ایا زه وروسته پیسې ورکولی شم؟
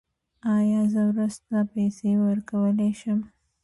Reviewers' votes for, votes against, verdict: 3, 0, accepted